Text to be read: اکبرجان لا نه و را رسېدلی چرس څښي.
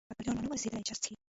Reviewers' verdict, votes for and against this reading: rejected, 1, 2